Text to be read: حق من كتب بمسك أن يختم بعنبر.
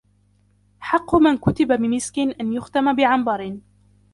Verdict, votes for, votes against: rejected, 1, 2